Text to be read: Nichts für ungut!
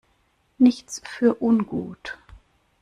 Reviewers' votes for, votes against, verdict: 2, 0, accepted